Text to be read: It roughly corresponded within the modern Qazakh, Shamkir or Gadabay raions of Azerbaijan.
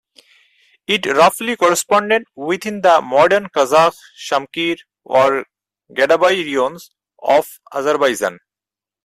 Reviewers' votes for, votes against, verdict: 4, 0, accepted